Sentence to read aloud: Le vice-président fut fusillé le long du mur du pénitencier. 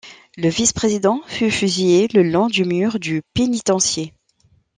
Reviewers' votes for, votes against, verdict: 2, 0, accepted